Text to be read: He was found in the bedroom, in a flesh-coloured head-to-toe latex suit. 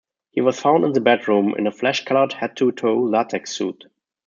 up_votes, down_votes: 0, 2